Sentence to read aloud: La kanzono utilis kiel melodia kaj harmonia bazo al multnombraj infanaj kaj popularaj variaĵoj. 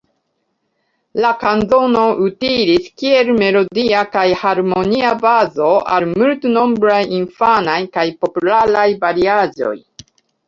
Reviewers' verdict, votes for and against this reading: accepted, 3, 0